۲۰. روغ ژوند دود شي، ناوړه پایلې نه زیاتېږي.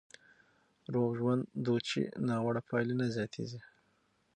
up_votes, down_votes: 0, 2